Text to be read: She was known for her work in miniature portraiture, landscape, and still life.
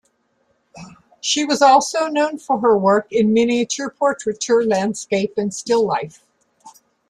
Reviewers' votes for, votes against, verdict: 1, 2, rejected